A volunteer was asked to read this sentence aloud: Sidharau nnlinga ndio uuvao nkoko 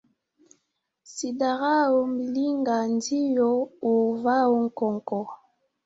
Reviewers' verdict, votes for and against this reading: rejected, 1, 2